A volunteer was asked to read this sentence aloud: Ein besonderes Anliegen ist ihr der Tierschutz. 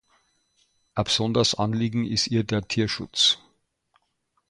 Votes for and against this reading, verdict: 2, 0, accepted